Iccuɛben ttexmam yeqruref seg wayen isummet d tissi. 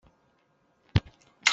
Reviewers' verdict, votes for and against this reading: rejected, 0, 2